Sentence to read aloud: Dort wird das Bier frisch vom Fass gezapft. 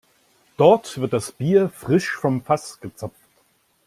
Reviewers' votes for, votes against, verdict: 2, 0, accepted